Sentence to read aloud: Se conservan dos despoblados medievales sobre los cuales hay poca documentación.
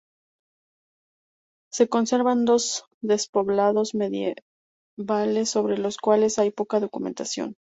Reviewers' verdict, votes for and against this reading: accepted, 2, 0